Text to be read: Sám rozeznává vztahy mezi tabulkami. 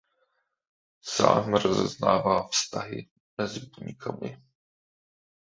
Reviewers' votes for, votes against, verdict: 0, 2, rejected